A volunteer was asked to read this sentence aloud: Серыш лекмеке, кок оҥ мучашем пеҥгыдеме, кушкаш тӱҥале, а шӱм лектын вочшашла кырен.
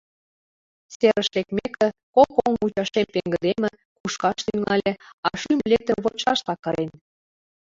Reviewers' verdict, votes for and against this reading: accepted, 2, 1